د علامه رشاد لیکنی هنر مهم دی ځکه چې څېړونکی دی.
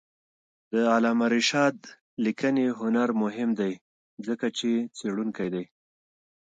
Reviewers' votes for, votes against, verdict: 2, 1, accepted